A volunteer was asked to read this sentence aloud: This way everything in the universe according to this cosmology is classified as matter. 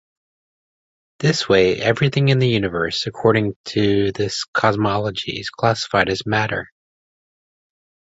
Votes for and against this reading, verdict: 2, 0, accepted